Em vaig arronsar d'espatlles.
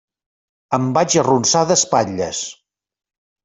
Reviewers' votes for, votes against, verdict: 2, 0, accepted